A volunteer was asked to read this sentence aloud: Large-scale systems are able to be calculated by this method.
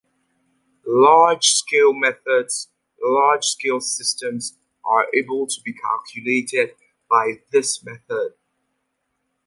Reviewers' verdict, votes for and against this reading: rejected, 0, 2